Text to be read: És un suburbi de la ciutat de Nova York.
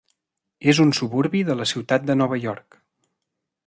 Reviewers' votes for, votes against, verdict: 3, 0, accepted